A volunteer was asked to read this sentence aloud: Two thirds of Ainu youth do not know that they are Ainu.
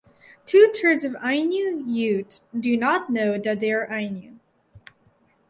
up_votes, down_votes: 0, 2